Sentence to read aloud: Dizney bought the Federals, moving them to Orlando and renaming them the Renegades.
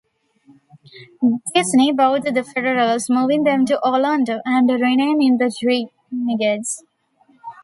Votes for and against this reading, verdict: 1, 2, rejected